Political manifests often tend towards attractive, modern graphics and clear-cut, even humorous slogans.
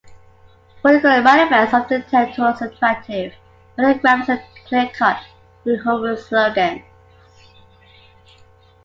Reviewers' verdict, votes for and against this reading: rejected, 1, 2